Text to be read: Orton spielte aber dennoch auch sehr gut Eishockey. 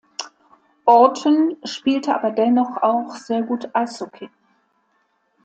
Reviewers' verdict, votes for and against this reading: accepted, 2, 0